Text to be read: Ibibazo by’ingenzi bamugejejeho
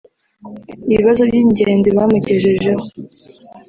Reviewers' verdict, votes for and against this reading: rejected, 1, 2